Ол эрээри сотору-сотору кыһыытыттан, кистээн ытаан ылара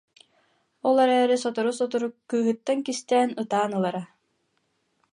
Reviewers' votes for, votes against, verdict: 0, 2, rejected